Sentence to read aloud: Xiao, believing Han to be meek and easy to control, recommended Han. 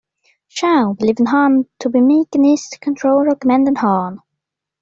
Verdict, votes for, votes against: rejected, 0, 2